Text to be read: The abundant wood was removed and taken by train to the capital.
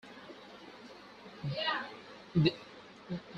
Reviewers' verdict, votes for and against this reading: rejected, 0, 4